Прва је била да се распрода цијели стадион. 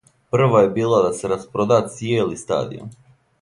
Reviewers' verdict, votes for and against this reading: accepted, 2, 0